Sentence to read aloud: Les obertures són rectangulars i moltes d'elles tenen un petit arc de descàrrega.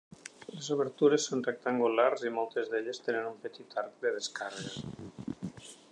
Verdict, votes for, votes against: accepted, 4, 0